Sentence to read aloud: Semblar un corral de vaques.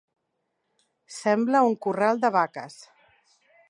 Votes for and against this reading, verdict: 0, 2, rejected